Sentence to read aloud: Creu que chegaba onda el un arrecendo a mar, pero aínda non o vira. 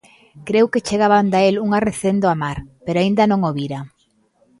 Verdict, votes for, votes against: accepted, 2, 0